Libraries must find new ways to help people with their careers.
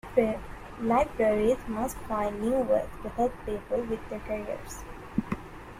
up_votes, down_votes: 0, 2